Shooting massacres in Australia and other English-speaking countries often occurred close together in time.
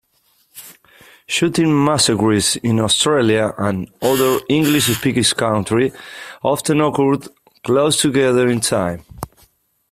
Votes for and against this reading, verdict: 1, 3, rejected